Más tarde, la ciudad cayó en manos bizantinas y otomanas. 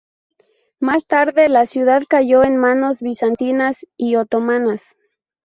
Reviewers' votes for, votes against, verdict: 2, 0, accepted